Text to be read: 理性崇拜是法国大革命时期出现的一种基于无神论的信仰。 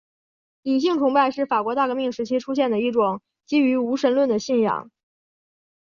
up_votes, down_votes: 6, 0